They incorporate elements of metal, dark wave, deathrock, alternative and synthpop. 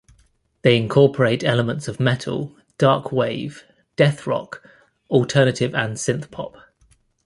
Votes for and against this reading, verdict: 2, 0, accepted